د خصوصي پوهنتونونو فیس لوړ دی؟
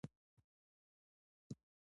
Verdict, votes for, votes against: accepted, 2, 0